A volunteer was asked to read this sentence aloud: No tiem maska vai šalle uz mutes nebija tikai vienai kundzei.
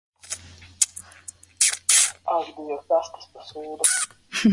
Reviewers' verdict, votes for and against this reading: rejected, 0, 2